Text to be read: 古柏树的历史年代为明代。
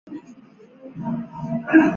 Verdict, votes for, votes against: rejected, 2, 5